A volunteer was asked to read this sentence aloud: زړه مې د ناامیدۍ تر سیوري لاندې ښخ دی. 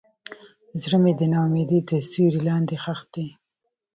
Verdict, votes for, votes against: rejected, 0, 2